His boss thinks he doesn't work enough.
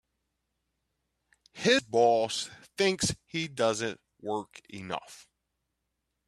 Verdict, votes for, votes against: accepted, 2, 1